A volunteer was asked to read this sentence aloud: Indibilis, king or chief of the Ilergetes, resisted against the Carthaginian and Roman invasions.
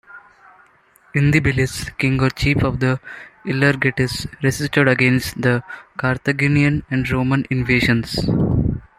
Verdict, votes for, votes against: rejected, 0, 2